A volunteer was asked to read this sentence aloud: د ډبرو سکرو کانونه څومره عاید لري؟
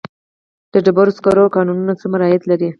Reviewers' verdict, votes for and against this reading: accepted, 4, 0